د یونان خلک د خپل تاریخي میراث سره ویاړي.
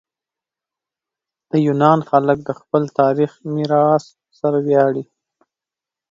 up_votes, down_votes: 1, 2